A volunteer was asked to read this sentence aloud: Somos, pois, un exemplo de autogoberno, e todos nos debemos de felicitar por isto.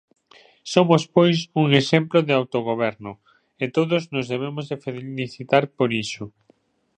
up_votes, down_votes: 1, 2